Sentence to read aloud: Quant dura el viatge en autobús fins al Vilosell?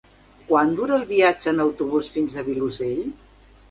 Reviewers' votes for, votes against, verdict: 2, 4, rejected